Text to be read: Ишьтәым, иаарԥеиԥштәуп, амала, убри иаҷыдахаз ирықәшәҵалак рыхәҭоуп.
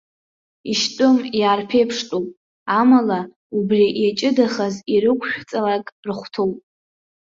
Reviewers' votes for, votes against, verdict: 1, 2, rejected